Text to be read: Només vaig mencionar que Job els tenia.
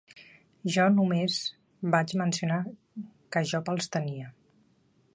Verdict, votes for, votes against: rejected, 0, 3